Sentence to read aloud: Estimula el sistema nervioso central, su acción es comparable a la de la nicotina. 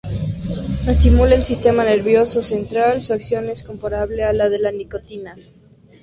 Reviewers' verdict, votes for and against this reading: accepted, 2, 0